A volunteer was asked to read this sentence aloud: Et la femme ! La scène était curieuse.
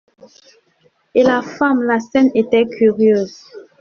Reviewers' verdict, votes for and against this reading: rejected, 0, 2